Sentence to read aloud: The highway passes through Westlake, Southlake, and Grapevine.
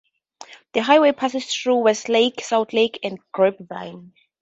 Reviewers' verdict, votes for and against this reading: accepted, 2, 0